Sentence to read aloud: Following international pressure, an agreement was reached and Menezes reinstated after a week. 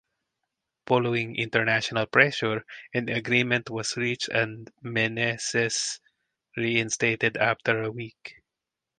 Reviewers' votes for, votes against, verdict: 4, 0, accepted